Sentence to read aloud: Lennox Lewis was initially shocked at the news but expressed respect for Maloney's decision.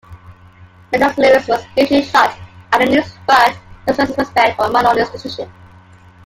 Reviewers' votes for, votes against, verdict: 0, 2, rejected